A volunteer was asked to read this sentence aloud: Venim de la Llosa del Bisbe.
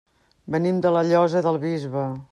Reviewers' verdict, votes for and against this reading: accepted, 3, 0